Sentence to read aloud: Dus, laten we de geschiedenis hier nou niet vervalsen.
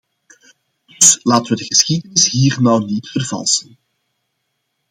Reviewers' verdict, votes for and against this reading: accepted, 2, 0